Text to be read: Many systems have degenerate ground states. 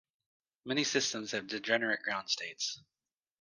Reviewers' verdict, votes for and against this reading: accepted, 2, 0